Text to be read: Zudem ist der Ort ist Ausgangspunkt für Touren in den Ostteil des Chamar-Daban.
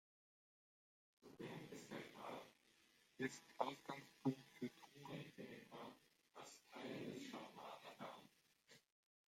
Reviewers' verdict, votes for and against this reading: rejected, 0, 2